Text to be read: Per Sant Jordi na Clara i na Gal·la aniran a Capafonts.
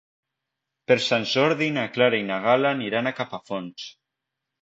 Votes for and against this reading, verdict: 1, 2, rejected